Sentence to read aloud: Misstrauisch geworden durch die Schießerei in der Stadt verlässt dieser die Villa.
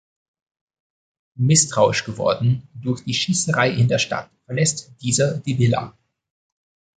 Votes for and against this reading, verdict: 2, 0, accepted